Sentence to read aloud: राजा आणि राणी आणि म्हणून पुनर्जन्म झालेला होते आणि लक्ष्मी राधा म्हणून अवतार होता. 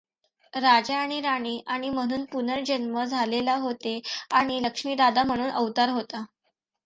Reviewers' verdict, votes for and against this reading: accepted, 2, 0